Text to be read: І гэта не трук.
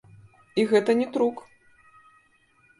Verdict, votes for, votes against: accepted, 2, 1